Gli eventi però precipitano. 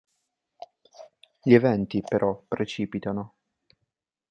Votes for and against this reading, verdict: 2, 0, accepted